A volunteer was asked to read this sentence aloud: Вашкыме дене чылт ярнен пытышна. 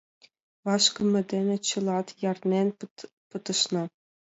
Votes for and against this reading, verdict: 1, 2, rejected